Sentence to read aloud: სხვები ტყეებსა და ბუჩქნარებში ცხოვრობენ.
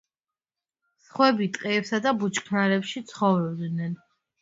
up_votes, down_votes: 0, 2